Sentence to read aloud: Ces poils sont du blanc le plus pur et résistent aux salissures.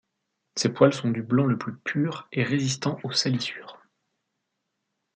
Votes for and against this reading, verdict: 1, 2, rejected